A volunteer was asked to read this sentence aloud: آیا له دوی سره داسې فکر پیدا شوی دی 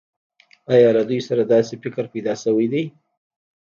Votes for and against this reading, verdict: 1, 2, rejected